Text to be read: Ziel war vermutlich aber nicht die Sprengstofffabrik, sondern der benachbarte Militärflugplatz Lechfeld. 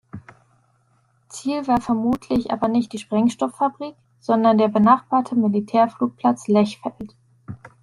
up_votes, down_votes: 2, 0